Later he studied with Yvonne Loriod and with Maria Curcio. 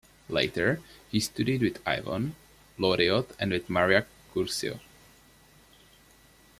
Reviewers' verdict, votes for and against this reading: rejected, 1, 2